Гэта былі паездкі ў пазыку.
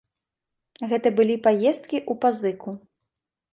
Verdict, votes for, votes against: accepted, 2, 0